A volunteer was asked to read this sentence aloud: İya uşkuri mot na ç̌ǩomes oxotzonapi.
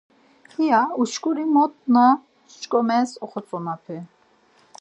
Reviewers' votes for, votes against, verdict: 4, 0, accepted